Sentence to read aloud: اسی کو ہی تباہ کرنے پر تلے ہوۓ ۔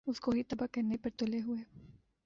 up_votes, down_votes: 1, 2